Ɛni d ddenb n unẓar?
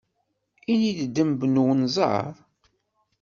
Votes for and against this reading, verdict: 1, 2, rejected